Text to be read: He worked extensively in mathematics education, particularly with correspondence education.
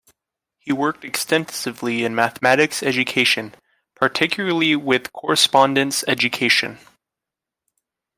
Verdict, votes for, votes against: accepted, 2, 0